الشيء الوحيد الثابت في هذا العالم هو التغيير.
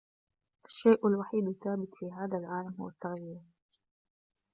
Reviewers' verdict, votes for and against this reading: accepted, 2, 0